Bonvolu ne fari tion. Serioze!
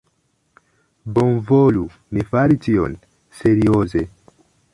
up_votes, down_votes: 0, 2